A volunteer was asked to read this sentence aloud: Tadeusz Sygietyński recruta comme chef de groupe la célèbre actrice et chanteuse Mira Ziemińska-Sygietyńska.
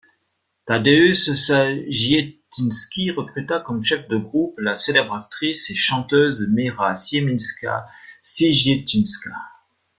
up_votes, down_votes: 1, 2